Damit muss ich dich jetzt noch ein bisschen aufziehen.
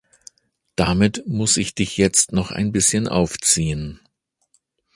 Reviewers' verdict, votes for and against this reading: accepted, 2, 0